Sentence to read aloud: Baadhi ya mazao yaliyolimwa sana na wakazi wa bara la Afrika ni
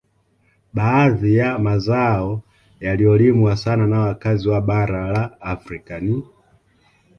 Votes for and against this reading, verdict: 2, 0, accepted